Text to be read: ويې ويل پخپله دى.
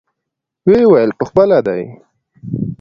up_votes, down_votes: 2, 0